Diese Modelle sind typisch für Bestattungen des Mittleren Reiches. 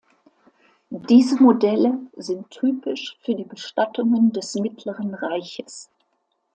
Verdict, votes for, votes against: rejected, 2, 3